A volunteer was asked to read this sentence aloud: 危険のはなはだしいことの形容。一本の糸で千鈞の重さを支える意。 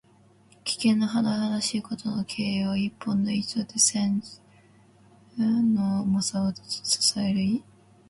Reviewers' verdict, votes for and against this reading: rejected, 1, 2